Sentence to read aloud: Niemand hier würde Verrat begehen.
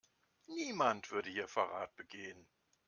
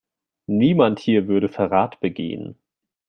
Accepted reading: second